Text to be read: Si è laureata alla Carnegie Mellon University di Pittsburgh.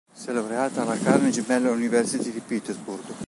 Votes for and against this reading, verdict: 0, 2, rejected